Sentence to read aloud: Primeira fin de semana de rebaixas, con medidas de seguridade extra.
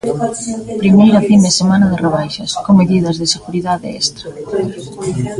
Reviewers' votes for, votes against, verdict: 1, 2, rejected